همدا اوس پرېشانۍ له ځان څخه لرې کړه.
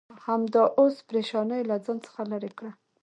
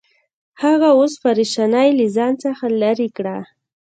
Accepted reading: first